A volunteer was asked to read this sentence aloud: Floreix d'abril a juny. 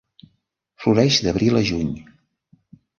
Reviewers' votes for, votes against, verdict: 3, 0, accepted